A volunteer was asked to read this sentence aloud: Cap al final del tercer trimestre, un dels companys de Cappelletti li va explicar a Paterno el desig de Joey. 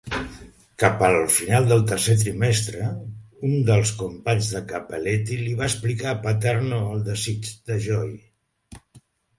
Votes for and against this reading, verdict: 2, 0, accepted